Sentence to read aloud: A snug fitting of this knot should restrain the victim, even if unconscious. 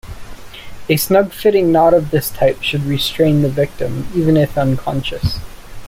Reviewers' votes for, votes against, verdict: 1, 2, rejected